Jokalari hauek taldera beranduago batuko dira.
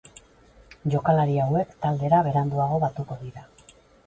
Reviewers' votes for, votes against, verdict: 4, 0, accepted